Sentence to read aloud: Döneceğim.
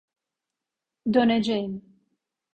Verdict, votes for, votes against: accepted, 2, 0